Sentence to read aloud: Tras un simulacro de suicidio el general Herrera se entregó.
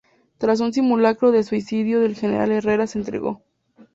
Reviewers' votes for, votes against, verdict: 6, 0, accepted